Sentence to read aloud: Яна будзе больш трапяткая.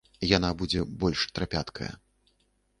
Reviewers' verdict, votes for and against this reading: rejected, 0, 2